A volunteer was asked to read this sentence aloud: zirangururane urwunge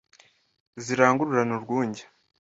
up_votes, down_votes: 2, 0